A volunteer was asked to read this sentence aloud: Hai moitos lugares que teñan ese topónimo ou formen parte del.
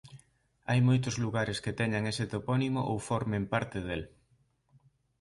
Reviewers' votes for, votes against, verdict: 2, 0, accepted